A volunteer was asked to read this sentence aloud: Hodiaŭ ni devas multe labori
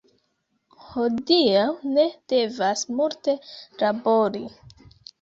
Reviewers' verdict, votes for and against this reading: rejected, 0, 2